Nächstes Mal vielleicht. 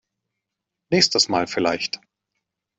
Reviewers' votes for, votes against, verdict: 2, 0, accepted